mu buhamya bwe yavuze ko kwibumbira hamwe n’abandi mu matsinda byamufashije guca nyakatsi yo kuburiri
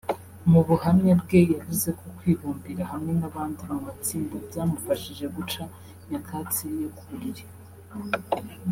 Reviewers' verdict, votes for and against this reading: rejected, 1, 2